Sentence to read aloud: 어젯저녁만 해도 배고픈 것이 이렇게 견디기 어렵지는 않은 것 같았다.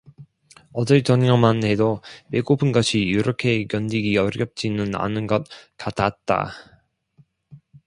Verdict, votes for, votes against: rejected, 1, 2